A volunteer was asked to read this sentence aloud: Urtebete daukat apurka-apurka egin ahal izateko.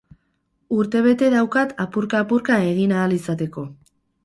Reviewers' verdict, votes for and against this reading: accepted, 6, 0